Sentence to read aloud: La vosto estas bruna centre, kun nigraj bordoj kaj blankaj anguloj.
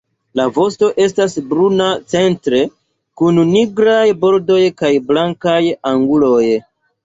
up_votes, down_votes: 1, 2